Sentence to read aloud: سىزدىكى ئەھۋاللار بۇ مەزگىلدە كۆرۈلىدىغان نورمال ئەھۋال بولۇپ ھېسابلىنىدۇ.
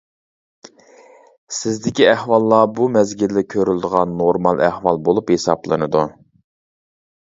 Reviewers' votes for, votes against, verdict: 0, 2, rejected